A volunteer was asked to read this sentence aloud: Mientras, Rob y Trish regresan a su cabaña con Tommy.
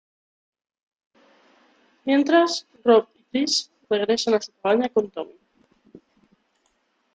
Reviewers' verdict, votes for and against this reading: rejected, 0, 2